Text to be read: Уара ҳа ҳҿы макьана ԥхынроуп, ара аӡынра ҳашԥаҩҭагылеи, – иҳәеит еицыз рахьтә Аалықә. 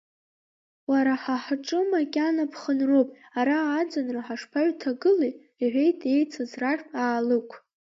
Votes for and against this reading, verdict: 2, 1, accepted